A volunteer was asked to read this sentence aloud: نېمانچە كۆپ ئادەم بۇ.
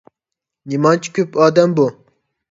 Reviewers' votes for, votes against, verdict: 2, 0, accepted